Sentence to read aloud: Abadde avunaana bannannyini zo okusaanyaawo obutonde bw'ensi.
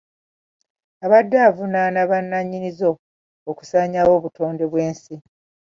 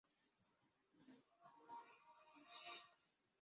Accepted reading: first